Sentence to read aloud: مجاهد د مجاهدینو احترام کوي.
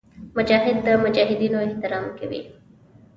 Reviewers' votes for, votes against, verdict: 2, 0, accepted